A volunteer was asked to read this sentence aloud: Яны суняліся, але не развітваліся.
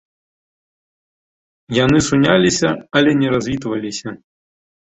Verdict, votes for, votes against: accepted, 2, 1